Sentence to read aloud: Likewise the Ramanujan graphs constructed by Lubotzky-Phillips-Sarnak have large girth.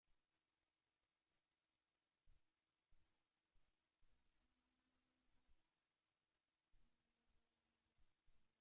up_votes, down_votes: 0, 2